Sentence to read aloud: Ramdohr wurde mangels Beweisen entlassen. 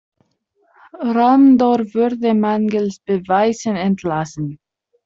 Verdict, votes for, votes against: rejected, 0, 2